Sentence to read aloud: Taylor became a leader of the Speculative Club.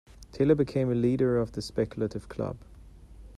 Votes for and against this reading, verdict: 2, 0, accepted